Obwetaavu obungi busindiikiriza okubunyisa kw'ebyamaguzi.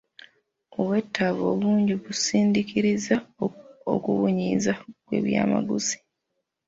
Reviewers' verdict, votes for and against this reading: rejected, 0, 2